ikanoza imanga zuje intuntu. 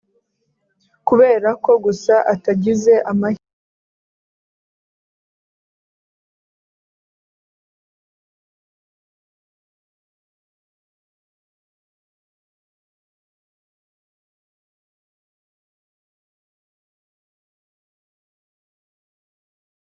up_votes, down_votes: 0, 2